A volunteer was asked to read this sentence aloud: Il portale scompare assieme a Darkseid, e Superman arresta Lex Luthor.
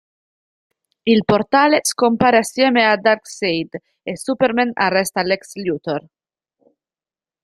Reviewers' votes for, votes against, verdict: 1, 2, rejected